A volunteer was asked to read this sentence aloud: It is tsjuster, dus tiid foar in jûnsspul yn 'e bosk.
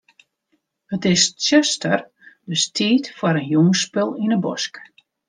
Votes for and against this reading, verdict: 2, 0, accepted